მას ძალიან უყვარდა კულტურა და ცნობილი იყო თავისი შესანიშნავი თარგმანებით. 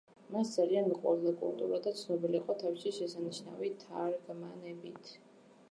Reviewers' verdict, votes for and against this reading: accepted, 2, 1